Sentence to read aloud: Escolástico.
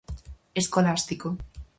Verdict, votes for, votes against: accepted, 4, 0